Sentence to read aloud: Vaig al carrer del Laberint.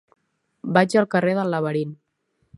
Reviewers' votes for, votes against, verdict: 2, 0, accepted